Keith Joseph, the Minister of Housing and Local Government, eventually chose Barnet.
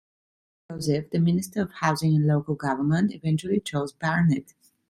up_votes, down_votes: 0, 2